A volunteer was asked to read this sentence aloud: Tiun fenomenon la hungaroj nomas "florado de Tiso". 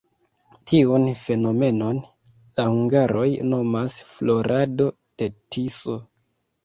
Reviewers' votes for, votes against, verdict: 1, 2, rejected